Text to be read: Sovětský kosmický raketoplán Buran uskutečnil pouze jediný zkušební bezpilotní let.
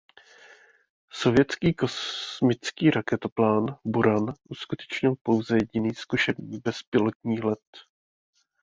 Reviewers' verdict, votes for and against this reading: rejected, 1, 2